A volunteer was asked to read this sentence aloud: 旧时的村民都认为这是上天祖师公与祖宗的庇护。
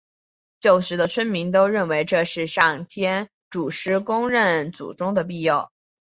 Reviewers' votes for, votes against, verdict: 5, 1, accepted